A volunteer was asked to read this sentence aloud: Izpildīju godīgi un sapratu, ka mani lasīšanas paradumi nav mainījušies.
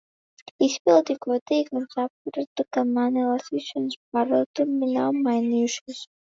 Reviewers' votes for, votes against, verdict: 1, 2, rejected